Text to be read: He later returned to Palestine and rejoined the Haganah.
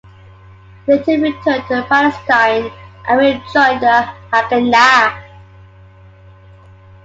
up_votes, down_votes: 0, 2